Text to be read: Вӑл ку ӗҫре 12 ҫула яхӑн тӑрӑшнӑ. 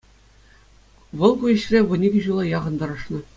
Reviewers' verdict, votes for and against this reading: rejected, 0, 2